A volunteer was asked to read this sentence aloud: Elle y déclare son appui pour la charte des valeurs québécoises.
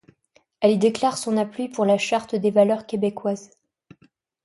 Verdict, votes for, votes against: rejected, 1, 2